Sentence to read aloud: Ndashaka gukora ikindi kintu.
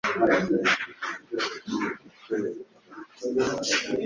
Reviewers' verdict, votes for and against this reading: rejected, 1, 2